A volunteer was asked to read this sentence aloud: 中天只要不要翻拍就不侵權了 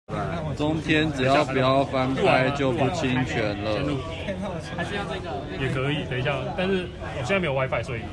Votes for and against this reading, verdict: 0, 2, rejected